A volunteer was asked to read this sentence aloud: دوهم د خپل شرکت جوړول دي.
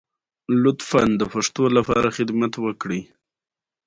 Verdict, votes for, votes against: rejected, 1, 2